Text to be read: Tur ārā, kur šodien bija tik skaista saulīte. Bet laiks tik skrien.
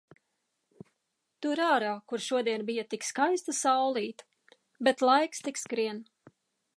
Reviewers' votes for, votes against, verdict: 2, 0, accepted